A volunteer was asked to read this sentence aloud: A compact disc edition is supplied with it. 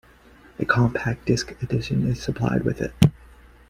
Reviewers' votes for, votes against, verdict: 2, 1, accepted